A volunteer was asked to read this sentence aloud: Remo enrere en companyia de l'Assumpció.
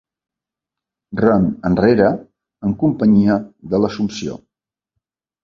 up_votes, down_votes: 1, 2